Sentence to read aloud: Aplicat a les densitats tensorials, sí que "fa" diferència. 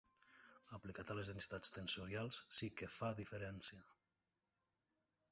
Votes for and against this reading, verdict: 1, 2, rejected